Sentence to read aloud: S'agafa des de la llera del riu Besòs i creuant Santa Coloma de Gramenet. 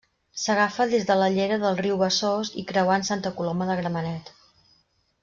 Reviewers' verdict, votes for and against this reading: rejected, 1, 2